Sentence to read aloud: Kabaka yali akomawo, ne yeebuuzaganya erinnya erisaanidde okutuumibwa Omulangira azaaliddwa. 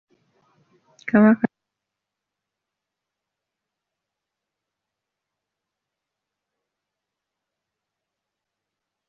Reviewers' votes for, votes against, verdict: 0, 2, rejected